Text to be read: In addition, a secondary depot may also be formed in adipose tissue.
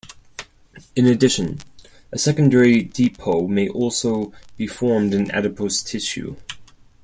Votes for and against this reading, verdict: 4, 0, accepted